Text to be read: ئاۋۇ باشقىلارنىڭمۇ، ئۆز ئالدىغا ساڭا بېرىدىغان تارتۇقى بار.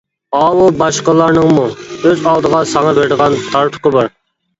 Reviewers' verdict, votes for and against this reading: accepted, 2, 1